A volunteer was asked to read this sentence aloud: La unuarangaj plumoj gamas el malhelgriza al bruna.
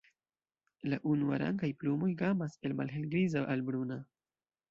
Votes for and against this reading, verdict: 2, 0, accepted